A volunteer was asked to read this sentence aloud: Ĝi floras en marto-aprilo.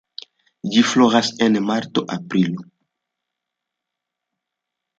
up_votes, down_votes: 2, 1